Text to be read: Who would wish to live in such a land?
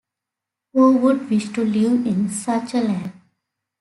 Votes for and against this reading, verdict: 2, 0, accepted